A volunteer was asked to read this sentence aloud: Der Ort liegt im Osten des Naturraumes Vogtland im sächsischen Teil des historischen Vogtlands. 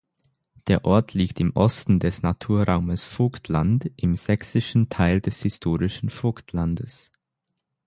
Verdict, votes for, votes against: rejected, 3, 6